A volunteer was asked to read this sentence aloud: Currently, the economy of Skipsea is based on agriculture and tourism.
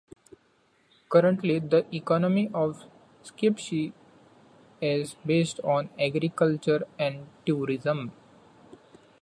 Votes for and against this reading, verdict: 2, 0, accepted